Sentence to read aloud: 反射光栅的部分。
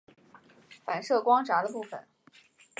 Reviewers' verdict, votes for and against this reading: accepted, 2, 0